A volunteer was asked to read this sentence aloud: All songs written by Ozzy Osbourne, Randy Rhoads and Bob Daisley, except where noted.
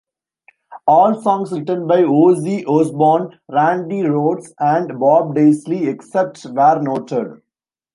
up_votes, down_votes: 1, 2